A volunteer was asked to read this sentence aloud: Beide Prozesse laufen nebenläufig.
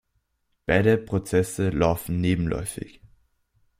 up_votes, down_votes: 2, 1